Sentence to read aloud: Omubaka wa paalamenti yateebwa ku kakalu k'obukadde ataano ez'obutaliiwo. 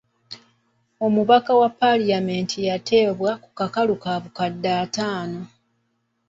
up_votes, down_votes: 1, 2